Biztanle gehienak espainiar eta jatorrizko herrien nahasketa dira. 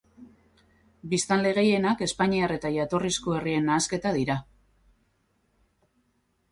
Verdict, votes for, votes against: accepted, 4, 0